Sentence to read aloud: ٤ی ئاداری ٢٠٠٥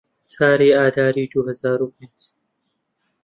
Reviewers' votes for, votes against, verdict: 0, 2, rejected